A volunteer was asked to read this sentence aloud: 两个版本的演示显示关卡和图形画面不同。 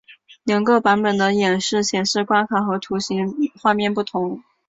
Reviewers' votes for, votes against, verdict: 0, 2, rejected